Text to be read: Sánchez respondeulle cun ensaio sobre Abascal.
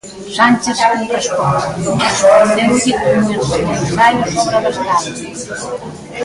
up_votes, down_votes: 0, 2